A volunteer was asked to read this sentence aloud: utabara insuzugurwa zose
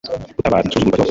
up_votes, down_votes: 1, 2